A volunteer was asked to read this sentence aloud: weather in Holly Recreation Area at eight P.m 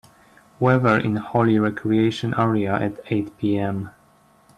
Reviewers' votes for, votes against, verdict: 4, 0, accepted